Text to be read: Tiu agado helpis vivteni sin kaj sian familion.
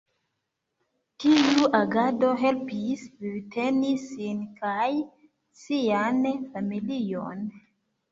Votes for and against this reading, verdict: 2, 0, accepted